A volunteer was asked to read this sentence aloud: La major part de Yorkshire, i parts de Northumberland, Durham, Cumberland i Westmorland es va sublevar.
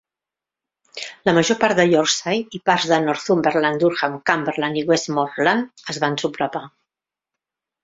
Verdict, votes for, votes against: rejected, 0, 2